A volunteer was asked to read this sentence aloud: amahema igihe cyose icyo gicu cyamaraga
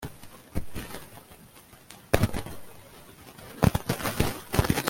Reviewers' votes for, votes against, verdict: 0, 2, rejected